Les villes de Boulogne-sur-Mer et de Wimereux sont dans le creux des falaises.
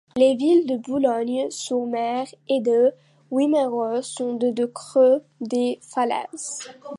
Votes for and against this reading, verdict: 0, 2, rejected